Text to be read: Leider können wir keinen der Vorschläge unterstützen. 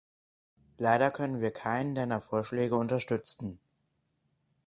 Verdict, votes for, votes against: rejected, 0, 4